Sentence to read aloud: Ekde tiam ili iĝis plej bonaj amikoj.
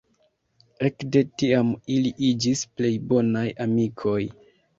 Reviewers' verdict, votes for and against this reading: accepted, 2, 0